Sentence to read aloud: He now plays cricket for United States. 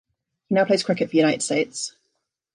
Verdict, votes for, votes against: accepted, 2, 0